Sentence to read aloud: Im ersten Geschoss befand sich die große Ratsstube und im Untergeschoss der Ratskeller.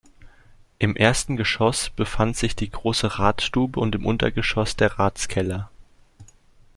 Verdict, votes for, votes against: accepted, 2, 0